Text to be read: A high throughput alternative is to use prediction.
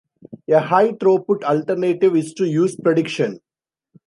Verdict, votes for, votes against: accepted, 2, 0